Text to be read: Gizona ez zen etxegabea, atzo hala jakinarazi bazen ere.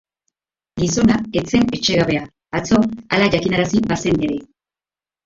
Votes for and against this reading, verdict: 0, 3, rejected